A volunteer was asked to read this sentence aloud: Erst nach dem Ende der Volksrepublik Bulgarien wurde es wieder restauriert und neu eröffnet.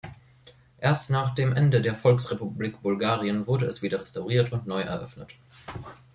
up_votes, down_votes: 2, 0